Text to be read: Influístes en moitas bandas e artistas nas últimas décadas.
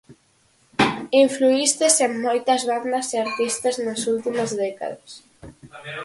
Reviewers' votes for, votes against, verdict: 2, 4, rejected